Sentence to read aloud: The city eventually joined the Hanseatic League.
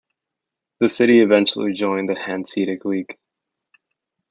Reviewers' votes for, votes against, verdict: 0, 2, rejected